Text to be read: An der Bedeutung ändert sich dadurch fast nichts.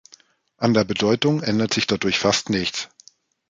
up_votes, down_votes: 2, 0